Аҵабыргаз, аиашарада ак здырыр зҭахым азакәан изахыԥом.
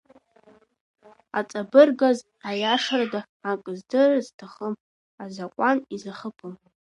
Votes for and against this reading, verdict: 1, 2, rejected